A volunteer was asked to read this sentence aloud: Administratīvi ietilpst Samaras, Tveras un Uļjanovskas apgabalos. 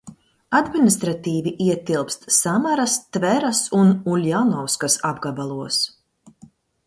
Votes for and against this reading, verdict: 2, 0, accepted